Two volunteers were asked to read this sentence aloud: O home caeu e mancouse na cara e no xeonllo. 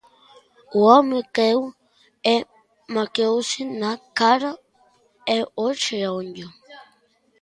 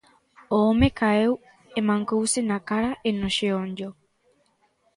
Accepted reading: second